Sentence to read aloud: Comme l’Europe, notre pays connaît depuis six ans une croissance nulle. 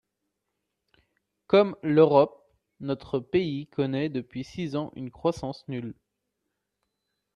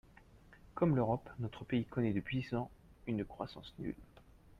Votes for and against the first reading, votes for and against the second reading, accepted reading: 2, 0, 0, 2, first